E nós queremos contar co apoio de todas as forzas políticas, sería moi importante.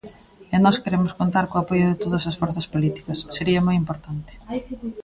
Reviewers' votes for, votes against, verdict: 1, 2, rejected